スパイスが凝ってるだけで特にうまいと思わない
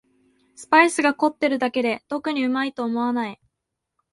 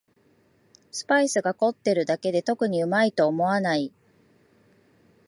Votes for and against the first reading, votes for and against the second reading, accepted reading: 2, 0, 0, 2, first